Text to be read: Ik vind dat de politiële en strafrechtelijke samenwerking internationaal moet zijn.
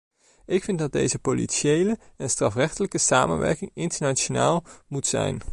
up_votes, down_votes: 1, 2